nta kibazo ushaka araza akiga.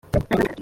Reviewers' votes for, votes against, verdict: 0, 2, rejected